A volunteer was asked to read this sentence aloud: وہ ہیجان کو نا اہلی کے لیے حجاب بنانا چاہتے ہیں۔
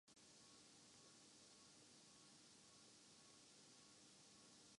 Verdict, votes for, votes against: rejected, 0, 2